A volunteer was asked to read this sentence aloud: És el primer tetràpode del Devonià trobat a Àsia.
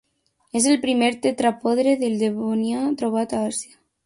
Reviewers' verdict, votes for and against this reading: rejected, 0, 2